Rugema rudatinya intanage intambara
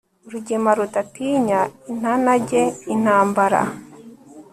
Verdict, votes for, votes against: rejected, 1, 2